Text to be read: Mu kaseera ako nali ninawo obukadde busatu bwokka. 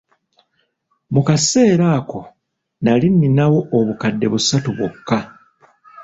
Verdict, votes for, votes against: accepted, 2, 0